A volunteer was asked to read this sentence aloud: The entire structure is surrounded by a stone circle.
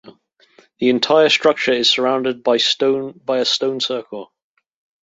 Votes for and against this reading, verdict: 0, 2, rejected